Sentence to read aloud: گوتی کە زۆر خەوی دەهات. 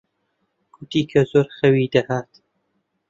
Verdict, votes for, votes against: accepted, 2, 0